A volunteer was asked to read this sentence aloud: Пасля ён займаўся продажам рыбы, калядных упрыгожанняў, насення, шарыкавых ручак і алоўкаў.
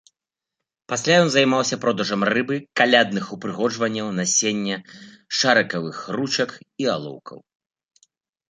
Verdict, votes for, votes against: accepted, 2, 0